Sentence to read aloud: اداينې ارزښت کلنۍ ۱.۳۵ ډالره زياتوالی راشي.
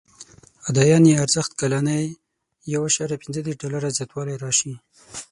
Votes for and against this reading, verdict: 0, 2, rejected